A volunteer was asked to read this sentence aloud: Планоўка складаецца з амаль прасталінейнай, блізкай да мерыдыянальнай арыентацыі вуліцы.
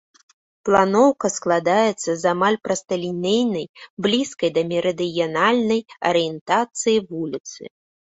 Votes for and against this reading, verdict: 2, 0, accepted